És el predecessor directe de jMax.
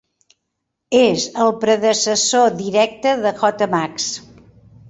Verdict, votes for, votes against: rejected, 0, 2